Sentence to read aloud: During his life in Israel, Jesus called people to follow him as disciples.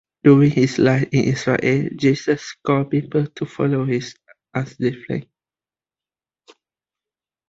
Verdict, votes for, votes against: rejected, 0, 2